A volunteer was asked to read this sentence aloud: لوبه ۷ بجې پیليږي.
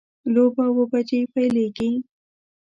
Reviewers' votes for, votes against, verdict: 0, 2, rejected